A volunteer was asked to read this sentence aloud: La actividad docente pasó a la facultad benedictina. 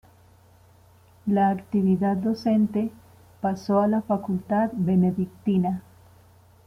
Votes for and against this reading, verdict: 2, 0, accepted